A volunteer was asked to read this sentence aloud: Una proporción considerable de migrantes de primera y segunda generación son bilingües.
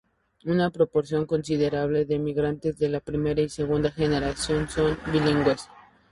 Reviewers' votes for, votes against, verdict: 0, 2, rejected